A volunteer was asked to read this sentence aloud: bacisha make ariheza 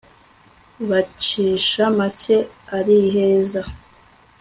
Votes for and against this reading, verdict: 3, 0, accepted